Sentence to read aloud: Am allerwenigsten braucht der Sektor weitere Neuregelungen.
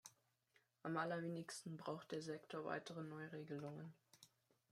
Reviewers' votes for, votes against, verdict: 1, 2, rejected